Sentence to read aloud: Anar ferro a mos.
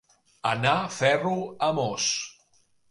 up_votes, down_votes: 2, 0